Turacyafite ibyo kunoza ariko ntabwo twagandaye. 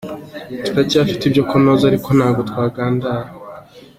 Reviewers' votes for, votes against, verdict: 2, 1, accepted